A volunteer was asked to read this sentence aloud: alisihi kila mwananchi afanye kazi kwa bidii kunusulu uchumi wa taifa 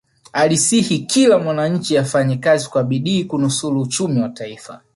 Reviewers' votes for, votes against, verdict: 3, 1, accepted